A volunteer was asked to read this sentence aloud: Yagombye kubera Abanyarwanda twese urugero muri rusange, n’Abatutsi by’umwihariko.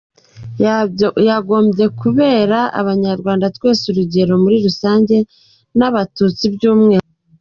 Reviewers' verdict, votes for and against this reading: rejected, 0, 2